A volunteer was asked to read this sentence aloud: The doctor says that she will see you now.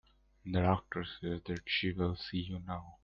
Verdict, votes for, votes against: rejected, 1, 2